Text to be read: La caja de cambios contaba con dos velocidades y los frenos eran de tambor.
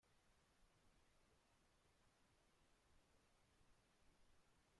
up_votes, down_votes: 0, 2